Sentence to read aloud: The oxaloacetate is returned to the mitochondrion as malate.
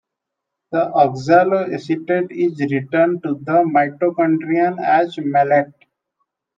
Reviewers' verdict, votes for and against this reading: rejected, 1, 2